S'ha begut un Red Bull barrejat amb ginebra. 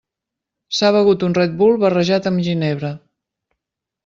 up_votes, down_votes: 3, 0